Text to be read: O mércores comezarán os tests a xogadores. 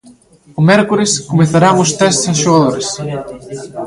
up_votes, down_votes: 1, 2